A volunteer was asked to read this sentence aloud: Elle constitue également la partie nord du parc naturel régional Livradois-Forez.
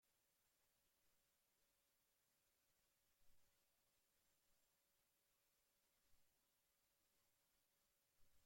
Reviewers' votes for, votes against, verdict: 0, 2, rejected